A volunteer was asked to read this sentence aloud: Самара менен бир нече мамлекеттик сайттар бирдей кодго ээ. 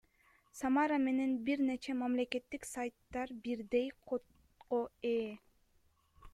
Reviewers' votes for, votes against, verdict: 1, 2, rejected